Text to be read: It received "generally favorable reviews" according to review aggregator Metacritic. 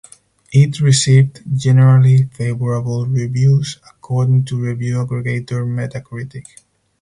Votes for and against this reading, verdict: 4, 0, accepted